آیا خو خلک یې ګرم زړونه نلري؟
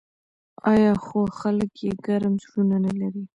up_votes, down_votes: 1, 2